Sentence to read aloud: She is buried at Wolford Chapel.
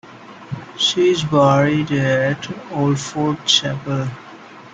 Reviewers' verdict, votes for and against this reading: accepted, 2, 0